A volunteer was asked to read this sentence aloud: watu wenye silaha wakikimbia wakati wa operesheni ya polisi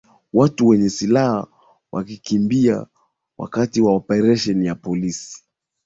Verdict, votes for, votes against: accepted, 2, 0